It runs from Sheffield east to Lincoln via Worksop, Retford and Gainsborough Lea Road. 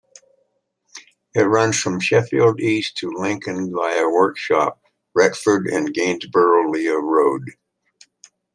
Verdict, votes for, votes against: rejected, 0, 2